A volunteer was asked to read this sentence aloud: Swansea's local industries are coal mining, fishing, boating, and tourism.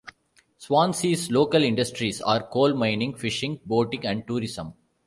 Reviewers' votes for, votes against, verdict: 2, 0, accepted